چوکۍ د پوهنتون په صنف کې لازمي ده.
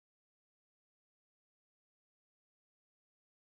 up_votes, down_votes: 0, 2